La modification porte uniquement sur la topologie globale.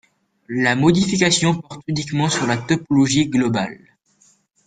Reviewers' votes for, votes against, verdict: 1, 2, rejected